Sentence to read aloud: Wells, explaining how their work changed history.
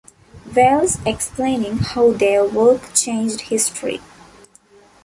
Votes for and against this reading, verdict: 4, 0, accepted